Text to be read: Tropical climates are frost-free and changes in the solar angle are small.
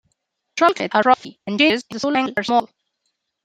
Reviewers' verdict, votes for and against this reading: rejected, 0, 2